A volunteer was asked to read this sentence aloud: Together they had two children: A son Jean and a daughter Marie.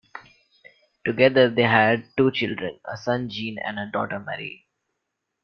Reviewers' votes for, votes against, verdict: 1, 2, rejected